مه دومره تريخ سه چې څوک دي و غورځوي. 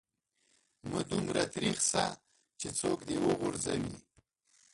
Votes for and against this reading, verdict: 0, 2, rejected